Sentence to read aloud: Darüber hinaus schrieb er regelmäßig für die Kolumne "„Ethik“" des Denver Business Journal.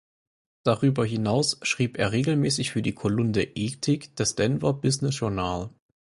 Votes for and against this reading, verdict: 4, 2, accepted